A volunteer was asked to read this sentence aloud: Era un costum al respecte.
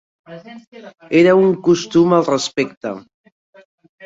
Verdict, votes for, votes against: rejected, 0, 2